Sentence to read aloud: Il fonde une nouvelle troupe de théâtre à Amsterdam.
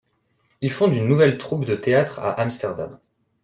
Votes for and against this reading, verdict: 2, 0, accepted